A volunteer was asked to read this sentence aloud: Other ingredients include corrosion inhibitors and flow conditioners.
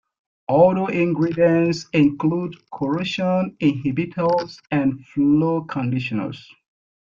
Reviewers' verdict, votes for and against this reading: accepted, 2, 0